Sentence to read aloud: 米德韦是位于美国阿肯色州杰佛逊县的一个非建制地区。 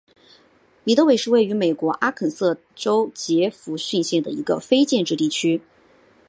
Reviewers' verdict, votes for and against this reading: accepted, 2, 0